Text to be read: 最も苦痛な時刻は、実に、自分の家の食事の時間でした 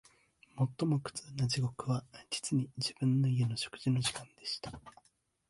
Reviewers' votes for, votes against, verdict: 1, 2, rejected